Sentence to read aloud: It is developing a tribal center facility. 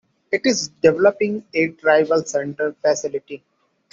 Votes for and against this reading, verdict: 2, 0, accepted